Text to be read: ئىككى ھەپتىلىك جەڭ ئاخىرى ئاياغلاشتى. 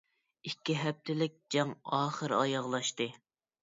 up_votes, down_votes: 2, 0